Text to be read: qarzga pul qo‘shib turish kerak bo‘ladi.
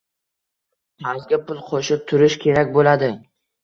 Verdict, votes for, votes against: accepted, 2, 1